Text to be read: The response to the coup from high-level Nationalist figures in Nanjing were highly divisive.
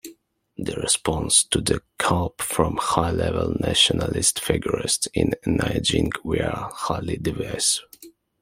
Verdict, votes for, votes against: rejected, 1, 2